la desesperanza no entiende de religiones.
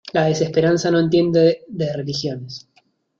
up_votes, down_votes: 2, 1